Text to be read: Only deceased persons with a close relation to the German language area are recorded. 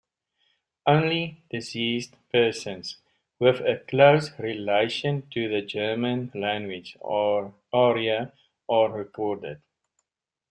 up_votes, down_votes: 0, 2